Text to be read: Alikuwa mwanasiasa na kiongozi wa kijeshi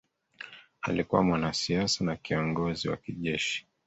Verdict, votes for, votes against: accepted, 2, 1